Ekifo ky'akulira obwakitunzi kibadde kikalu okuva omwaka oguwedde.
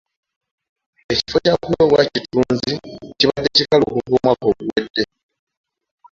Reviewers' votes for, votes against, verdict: 0, 2, rejected